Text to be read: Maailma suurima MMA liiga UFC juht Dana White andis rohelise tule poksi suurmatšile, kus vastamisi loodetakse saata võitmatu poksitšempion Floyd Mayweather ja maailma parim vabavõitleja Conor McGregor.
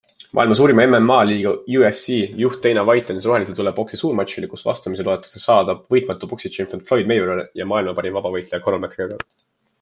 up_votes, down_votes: 2, 0